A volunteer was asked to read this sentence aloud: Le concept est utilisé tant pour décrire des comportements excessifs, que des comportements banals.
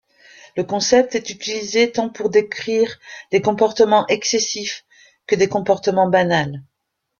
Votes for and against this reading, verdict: 1, 2, rejected